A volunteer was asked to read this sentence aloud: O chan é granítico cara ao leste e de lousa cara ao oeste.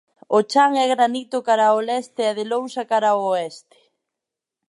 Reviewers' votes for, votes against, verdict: 0, 2, rejected